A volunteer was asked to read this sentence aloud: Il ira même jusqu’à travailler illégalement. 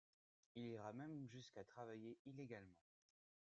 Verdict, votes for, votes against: rejected, 1, 2